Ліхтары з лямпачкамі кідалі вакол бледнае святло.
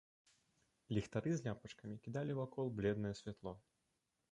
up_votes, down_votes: 1, 2